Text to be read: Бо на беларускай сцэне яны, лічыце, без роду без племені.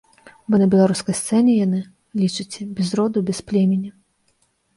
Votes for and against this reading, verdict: 0, 2, rejected